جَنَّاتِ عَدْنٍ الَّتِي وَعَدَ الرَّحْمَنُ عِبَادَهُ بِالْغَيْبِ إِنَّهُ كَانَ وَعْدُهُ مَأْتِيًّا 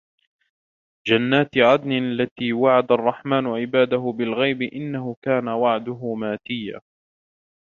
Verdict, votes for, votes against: accepted, 2, 0